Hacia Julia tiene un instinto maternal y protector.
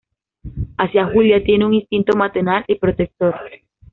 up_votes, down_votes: 2, 1